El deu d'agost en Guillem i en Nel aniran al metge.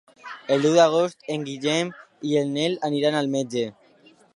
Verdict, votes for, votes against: accepted, 2, 0